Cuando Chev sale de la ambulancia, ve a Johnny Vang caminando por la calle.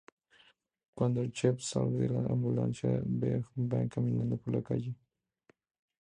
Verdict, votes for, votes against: accepted, 2, 0